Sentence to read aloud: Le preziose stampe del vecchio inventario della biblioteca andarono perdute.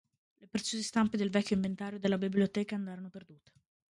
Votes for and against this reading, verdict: 1, 2, rejected